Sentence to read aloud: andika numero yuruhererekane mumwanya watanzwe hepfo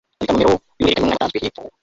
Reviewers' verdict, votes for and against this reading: rejected, 0, 2